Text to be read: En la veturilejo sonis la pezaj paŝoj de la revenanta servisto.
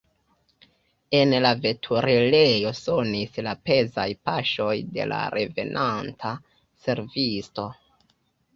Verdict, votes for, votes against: accepted, 3, 0